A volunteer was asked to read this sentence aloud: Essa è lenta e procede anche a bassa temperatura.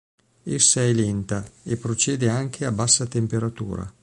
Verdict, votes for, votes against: accepted, 2, 0